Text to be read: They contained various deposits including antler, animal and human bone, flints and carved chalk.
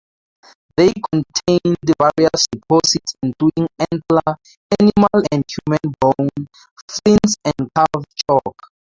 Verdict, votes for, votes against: rejected, 0, 2